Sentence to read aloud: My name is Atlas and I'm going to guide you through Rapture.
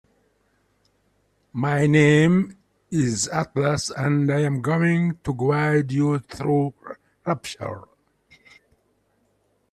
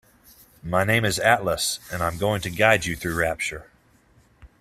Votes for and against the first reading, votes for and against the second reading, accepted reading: 1, 2, 2, 0, second